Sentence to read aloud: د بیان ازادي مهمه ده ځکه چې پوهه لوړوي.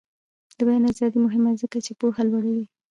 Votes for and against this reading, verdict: 1, 2, rejected